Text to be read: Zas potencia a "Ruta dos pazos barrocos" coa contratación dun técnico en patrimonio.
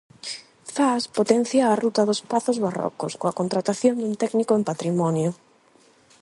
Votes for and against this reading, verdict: 8, 0, accepted